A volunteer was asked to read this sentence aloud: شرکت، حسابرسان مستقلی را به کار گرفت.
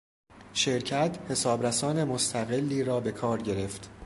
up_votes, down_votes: 2, 0